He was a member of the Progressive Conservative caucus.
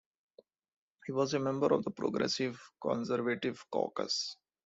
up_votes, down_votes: 2, 0